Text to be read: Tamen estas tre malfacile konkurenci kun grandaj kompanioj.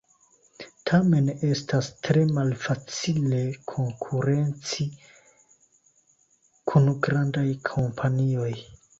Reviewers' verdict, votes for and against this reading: accepted, 2, 0